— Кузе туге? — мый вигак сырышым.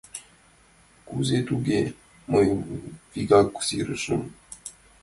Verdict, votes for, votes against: rejected, 1, 2